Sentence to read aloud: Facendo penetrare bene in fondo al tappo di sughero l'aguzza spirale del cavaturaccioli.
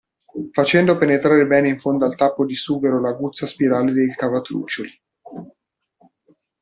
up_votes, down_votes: 1, 2